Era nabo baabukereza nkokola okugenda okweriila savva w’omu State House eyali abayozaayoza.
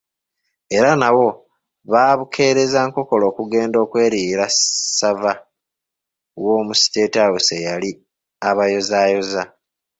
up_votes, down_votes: 2, 0